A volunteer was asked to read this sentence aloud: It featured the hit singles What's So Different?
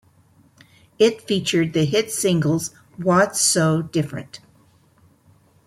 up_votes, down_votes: 2, 0